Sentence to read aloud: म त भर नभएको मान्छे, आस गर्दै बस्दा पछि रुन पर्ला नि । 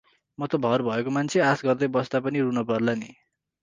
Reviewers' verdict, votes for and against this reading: rejected, 0, 4